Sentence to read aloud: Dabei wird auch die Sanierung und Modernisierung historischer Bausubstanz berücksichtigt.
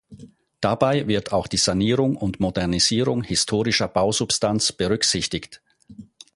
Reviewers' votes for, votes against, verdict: 4, 0, accepted